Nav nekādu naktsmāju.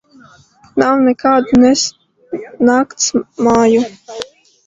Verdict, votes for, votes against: rejected, 0, 2